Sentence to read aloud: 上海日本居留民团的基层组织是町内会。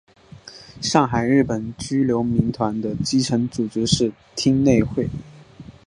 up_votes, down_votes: 1, 2